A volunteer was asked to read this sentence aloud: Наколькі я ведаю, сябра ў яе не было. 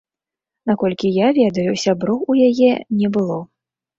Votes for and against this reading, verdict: 0, 2, rejected